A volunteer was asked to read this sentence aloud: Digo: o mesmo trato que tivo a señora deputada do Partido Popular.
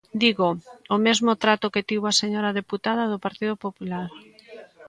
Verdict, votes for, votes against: accepted, 2, 0